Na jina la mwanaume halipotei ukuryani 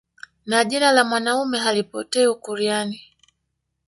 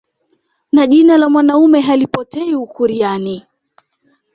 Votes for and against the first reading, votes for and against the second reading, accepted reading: 0, 2, 2, 0, second